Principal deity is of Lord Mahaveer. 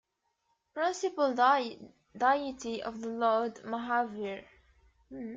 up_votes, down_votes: 1, 2